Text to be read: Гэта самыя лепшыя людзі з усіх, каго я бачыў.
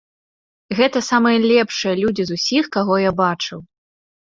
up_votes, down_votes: 2, 0